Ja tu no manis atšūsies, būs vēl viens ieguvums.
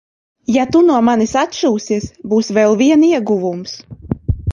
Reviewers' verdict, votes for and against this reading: rejected, 0, 2